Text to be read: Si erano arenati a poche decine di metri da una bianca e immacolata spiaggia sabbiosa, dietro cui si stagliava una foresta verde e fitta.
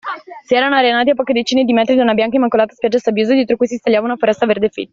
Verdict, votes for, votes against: rejected, 1, 2